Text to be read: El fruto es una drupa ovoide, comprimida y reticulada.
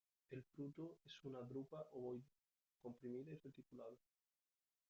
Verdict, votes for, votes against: rejected, 1, 2